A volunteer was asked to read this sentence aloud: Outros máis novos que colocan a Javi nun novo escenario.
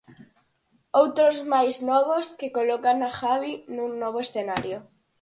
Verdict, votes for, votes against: accepted, 4, 0